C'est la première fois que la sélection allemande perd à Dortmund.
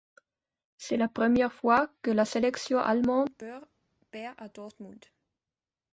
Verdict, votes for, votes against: rejected, 0, 2